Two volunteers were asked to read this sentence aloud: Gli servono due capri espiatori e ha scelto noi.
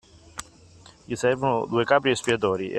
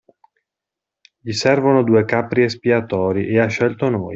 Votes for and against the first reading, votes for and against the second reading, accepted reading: 0, 2, 2, 1, second